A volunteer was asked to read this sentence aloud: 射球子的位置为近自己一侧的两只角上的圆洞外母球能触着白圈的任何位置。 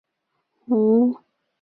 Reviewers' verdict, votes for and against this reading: rejected, 0, 3